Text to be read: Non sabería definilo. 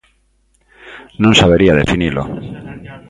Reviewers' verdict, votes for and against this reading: accepted, 2, 0